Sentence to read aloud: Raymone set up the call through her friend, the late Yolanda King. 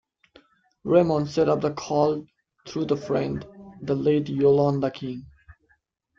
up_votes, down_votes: 0, 2